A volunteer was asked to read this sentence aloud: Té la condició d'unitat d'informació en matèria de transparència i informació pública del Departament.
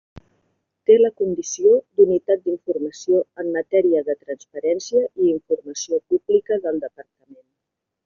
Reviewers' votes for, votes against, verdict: 1, 2, rejected